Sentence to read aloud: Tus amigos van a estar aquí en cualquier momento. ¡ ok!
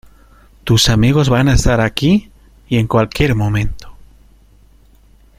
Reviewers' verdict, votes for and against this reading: rejected, 0, 2